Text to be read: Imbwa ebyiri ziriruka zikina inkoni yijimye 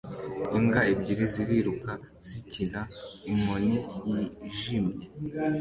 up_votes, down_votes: 2, 1